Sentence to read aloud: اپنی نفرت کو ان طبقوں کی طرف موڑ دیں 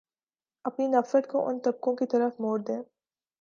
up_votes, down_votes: 2, 0